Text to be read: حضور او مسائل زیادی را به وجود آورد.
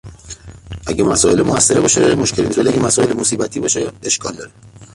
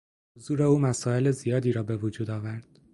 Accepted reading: second